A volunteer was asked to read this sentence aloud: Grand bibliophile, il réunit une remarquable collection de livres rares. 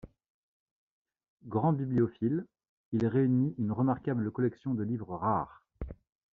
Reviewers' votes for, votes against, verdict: 2, 0, accepted